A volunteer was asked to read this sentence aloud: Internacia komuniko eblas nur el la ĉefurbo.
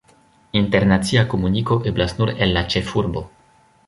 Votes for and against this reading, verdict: 1, 2, rejected